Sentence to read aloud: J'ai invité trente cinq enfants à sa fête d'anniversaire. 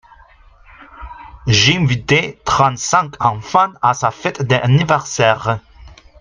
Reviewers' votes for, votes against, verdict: 2, 0, accepted